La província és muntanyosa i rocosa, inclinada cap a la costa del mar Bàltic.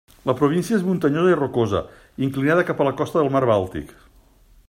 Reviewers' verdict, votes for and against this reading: accepted, 2, 0